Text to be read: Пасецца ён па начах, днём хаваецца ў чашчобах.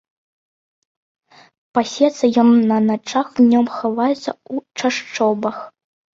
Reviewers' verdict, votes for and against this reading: rejected, 1, 2